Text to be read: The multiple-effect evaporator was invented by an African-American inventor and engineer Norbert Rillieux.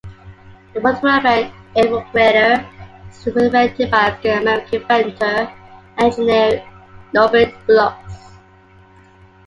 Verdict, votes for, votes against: rejected, 0, 2